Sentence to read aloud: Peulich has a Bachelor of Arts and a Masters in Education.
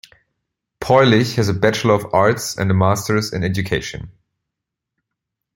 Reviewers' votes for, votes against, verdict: 2, 0, accepted